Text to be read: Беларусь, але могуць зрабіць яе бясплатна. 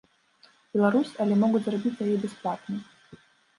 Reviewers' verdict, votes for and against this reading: rejected, 1, 2